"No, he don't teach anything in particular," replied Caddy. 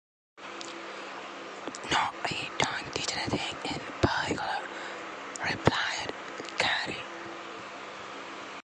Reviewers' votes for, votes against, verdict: 1, 2, rejected